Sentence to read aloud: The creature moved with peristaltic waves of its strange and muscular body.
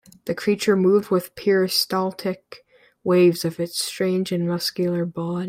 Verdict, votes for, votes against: rejected, 0, 2